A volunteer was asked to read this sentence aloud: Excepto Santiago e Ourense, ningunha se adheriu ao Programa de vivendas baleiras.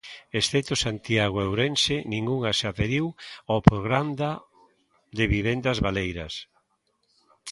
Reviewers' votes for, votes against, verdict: 0, 2, rejected